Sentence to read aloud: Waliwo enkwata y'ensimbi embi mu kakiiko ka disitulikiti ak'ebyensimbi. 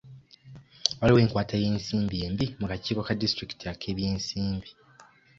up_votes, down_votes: 2, 0